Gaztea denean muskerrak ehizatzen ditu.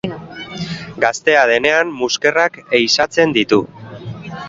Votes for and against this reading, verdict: 2, 0, accepted